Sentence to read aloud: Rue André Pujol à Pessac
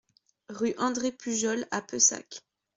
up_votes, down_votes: 1, 2